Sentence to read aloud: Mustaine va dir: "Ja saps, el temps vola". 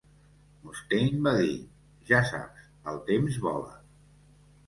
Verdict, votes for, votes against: rejected, 1, 2